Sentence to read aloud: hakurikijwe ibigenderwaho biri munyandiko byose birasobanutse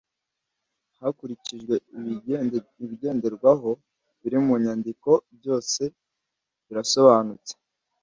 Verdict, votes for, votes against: rejected, 1, 2